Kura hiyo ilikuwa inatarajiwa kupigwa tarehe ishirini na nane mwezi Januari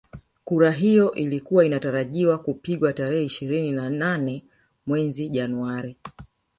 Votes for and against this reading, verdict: 1, 2, rejected